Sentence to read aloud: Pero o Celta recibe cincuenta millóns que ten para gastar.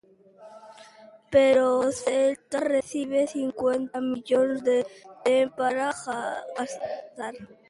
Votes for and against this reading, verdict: 0, 2, rejected